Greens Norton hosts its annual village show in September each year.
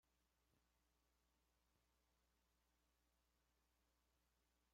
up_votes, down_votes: 0, 2